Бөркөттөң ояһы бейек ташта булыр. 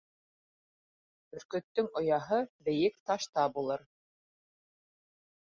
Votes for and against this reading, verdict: 2, 0, accepted